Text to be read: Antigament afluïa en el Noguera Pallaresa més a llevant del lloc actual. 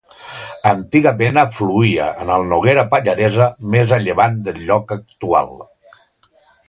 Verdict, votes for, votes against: accepted, 2, 0